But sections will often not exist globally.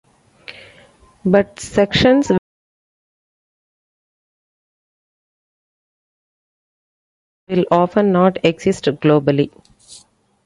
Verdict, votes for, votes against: rejected, 0, 2